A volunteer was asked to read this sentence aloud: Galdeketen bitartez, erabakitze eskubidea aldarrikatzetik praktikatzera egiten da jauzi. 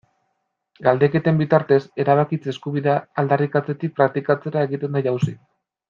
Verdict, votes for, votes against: accepted, 2, 0